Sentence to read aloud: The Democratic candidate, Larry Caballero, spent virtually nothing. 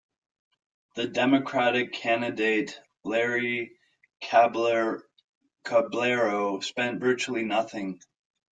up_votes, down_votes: 1, 2